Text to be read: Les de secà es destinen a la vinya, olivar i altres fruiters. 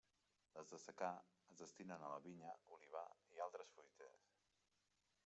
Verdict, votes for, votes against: rejected, 1, 2